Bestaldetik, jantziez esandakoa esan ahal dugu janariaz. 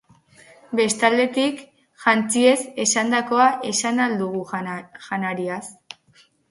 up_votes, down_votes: 0, 2